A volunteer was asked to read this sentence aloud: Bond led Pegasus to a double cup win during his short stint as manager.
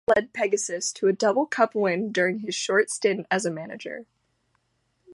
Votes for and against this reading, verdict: 0, 2, rejected